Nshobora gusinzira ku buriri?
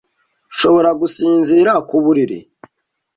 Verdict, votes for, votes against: accepted, 2, 0